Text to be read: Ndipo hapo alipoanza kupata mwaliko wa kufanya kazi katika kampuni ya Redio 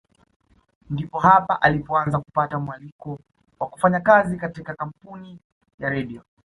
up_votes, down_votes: 2, 0